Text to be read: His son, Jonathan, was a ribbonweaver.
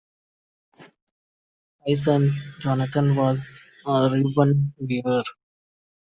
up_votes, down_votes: 1, 2